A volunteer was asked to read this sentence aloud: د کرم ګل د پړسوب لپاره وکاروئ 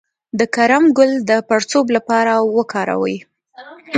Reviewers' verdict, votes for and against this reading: accepted, 2, 1